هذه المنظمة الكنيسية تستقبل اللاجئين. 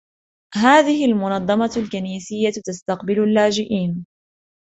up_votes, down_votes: 3, 0